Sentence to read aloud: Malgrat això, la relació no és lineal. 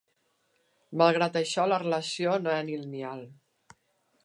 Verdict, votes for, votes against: rejected, 0, 2